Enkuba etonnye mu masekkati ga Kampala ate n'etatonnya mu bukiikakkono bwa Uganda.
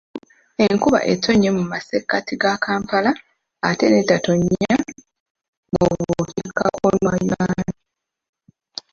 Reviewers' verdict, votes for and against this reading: rejected, 0, 2